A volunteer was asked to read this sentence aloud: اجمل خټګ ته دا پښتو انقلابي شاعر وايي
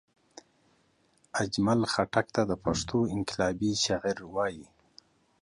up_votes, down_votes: 2, 0